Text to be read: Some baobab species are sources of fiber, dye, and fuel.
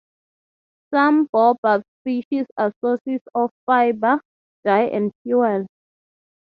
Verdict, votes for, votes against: accepted, 3, 0